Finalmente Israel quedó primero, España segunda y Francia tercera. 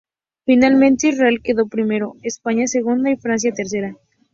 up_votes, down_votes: 2, 0